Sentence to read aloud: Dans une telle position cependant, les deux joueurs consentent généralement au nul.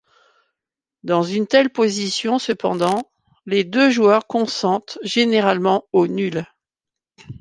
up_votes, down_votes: 2, 0